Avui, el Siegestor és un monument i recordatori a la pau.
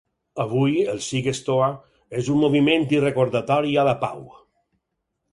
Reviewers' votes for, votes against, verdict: 2, 4, rejected